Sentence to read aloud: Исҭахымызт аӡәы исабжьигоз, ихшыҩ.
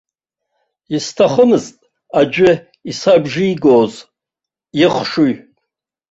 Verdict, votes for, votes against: rejected, 1, 2